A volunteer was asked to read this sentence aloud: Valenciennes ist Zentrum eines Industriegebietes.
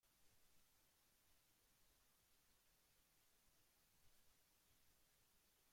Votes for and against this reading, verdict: 0, 2, rejected